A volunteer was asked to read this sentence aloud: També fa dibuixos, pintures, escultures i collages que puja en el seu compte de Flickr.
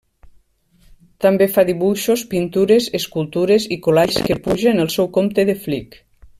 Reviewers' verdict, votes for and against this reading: rejected, 1, 2